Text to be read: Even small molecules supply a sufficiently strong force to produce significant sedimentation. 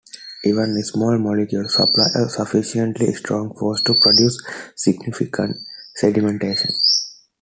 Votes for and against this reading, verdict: 1, 2, rejected